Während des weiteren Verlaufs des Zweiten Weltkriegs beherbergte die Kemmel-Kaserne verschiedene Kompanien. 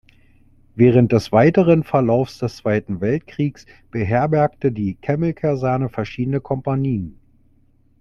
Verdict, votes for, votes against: accepted, 2, 0